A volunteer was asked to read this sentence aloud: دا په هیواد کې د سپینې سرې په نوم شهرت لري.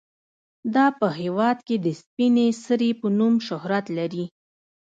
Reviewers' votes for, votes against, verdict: 2, 1, accepted